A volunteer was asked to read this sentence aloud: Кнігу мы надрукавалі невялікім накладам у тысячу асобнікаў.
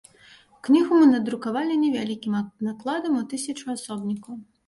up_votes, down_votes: 1, 3